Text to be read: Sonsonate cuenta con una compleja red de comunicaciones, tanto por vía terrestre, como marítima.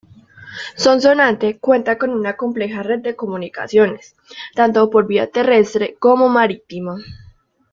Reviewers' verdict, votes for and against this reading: rejected, 1, 2